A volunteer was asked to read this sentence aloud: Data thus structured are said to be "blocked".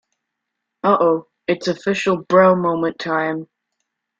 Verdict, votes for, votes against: rejected, 0, 2